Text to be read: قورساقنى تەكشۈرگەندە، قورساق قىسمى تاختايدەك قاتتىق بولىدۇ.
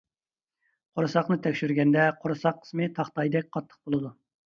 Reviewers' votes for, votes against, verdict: 2, 0, accepted